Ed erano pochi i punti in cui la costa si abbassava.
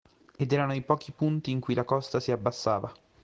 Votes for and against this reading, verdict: 1, 2, rejected